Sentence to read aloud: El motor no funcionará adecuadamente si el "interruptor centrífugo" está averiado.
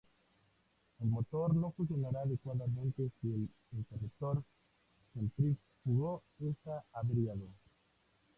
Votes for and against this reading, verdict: 2, 0, accepted